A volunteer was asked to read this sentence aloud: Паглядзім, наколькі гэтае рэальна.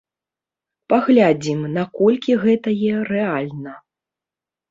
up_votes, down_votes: 0, 2